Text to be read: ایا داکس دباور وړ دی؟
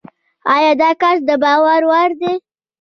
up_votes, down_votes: 0, 2